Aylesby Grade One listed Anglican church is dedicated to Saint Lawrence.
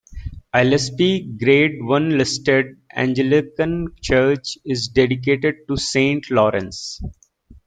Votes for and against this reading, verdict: 1, 2, rejected